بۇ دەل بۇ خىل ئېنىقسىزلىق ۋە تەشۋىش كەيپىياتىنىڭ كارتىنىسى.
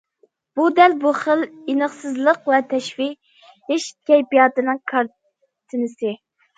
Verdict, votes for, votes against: rejected, 0, 2